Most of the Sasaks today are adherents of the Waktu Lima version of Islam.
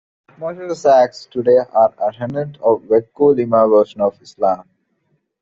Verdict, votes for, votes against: accepted, 2, 1